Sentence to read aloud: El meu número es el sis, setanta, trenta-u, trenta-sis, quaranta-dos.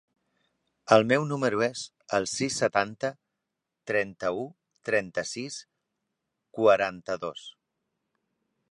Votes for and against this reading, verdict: 3, 0, accepted